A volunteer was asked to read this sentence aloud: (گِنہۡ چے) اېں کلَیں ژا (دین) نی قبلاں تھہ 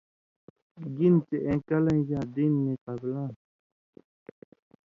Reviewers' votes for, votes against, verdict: 2, 0, accepted